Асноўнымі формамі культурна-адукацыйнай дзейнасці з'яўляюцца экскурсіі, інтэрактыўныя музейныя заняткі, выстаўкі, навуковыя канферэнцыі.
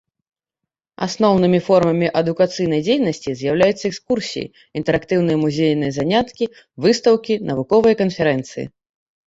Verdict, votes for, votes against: rejected, 0, 2